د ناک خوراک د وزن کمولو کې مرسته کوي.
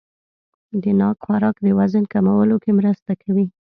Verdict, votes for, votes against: accepted, 2, 0